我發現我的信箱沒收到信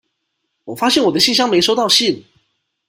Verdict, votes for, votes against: accepted, 2, 0